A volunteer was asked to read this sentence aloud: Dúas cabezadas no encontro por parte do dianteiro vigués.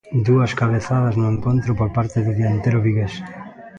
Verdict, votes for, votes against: rejected, 0, 2